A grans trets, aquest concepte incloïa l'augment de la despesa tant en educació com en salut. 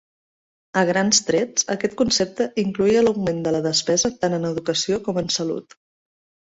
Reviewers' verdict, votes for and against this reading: accepted, 2, 0